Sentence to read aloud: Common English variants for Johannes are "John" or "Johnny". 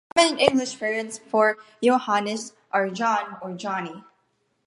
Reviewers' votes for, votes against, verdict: 0, 2, rejected